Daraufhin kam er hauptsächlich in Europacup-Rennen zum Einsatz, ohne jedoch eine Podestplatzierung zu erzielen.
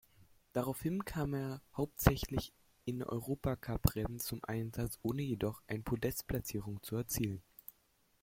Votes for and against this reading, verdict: 1, 2, rejected